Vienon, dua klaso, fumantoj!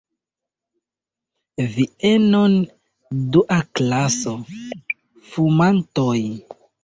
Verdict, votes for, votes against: rejected, 0, 2